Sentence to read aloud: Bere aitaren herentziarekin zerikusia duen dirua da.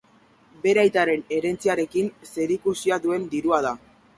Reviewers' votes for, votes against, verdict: 2, 0, accepted